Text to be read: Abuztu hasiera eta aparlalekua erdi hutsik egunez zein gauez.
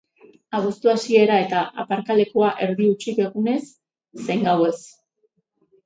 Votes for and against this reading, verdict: 4, 0, accepted